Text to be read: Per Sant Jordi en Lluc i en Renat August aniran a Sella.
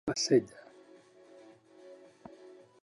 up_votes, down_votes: 0, 2